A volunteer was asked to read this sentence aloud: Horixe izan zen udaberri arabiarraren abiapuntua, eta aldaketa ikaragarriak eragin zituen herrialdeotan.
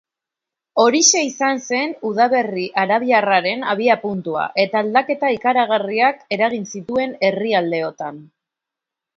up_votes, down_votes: 3, 0